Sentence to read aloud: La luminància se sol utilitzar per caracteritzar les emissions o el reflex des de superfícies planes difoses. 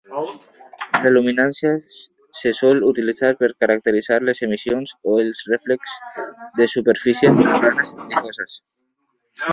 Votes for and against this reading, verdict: 0, 2, rejected